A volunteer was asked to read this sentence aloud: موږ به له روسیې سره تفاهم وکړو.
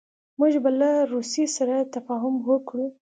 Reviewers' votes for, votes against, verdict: 2, 0, accepted